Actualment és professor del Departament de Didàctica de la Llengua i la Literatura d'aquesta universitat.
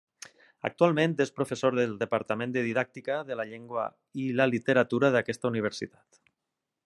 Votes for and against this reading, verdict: 3, 0, accepted